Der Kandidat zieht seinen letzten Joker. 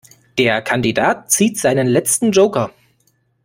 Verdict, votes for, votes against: accepted, 2, 0